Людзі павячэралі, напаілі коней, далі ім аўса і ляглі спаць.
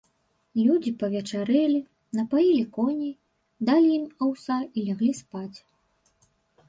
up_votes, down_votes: 1, 2